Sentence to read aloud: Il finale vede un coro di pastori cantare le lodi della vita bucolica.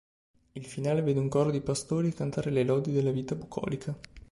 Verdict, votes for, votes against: accepted, 2, 0